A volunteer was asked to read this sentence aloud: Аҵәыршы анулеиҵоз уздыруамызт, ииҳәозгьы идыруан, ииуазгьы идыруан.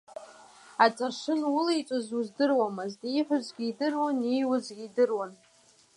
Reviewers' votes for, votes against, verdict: 0, 2, rejected